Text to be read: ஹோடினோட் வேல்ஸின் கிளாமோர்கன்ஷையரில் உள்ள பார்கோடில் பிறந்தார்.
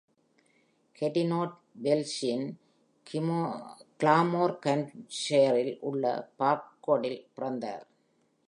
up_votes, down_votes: 1, 2